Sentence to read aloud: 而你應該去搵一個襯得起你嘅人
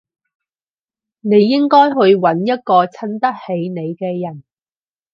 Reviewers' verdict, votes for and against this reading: rejected, 0, 4